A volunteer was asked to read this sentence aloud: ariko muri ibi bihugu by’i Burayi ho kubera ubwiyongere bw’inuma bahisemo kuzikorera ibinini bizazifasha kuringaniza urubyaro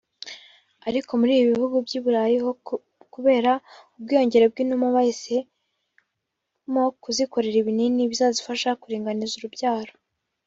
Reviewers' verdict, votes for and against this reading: rejected, 0, 2